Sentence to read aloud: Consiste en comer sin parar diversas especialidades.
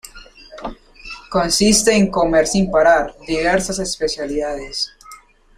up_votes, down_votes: 0, 2